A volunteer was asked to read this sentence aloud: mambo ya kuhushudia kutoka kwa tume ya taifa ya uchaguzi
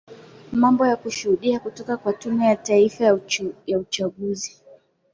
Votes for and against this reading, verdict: 0, 2, rejected